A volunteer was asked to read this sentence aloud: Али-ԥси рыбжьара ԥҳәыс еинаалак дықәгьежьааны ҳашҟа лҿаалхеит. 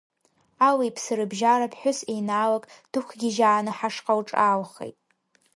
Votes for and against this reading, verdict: 2, 0, accepted